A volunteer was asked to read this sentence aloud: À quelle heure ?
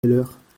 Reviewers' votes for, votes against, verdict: 1, 2, rejected